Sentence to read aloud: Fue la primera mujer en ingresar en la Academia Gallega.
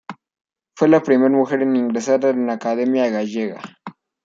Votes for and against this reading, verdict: 1, 2, rejected